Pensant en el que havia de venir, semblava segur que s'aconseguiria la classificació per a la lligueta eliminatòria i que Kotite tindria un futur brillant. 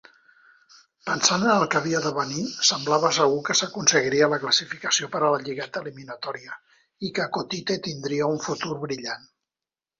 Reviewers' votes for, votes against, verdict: 1, 2, rejected